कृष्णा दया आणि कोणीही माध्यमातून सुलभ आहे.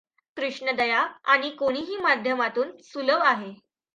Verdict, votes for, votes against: accepted, 2, 1